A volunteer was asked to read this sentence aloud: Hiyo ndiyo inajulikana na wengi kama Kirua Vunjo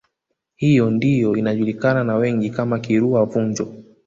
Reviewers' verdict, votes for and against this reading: accepted, 2, 1